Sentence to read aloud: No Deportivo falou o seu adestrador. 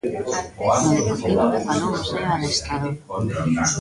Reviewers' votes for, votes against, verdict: 0, 2, rejected